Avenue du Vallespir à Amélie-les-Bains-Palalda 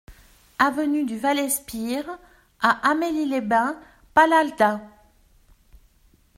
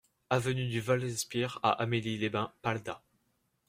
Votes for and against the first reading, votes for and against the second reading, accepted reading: 2, 0, 0, 2, first